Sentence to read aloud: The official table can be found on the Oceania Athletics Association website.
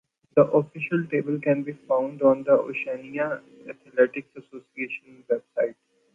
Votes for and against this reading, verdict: 2, 0, accepted